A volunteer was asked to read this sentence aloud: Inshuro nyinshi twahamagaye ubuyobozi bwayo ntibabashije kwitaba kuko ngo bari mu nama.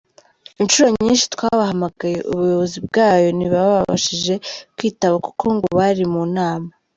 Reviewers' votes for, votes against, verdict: 1, 2, rejected